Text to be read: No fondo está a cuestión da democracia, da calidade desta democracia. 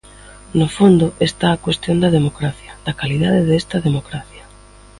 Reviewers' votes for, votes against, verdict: 2, 0, accepted